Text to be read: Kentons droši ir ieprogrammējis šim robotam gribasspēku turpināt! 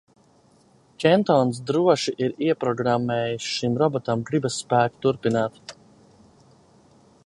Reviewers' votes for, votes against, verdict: 2, 1, accepted